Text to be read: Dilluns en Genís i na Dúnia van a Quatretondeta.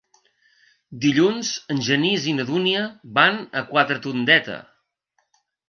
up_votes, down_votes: 2, 0